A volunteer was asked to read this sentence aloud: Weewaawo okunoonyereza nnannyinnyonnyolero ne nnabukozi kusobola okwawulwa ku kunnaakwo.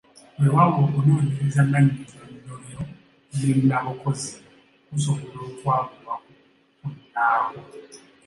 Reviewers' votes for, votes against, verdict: 2, 0, accepted